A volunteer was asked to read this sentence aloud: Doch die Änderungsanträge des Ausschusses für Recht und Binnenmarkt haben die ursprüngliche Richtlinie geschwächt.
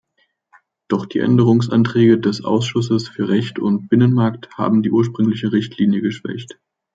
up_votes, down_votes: 2, 0